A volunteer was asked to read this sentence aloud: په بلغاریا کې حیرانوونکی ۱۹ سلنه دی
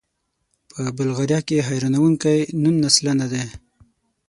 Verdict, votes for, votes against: rejected, 0, 2